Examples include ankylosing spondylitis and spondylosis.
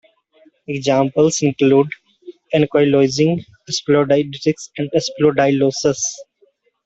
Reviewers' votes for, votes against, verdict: 0, 2, rejected